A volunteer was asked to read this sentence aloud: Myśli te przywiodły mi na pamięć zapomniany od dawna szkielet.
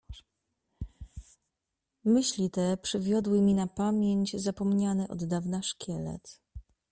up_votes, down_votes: 2, 0